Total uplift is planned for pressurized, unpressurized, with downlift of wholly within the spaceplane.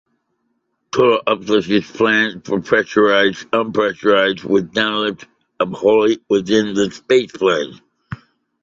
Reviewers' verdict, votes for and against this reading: accepted, 2, 1